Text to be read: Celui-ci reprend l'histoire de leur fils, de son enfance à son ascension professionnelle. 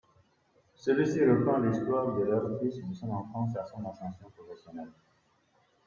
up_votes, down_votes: 0, 3